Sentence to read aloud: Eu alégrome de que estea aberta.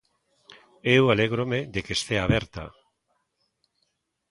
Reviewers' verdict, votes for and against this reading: accepted, 2, 0